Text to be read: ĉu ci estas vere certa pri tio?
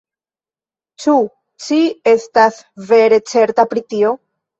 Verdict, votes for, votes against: rejected, 0, 2